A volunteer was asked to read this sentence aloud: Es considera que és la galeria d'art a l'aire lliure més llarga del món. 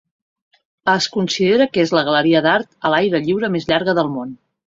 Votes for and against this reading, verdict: 2, 0, accepted